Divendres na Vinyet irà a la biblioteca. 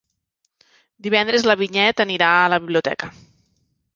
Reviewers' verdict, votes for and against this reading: rejected, 1, 2